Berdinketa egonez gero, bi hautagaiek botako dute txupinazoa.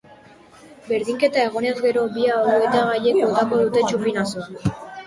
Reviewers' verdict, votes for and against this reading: accepted, 3, 2